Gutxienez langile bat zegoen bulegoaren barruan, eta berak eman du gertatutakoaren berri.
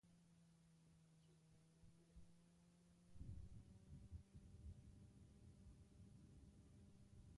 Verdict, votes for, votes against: rejected, 0, 2